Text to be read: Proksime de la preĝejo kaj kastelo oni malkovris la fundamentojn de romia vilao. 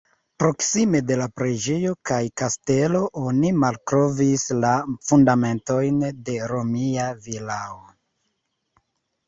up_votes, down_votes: 2, 0